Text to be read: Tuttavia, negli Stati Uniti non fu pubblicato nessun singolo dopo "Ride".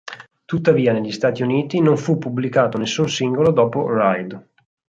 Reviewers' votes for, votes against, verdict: 6, 0, accepted